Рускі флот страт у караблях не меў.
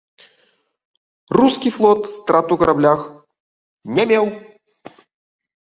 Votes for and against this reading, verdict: 1, 3, rejected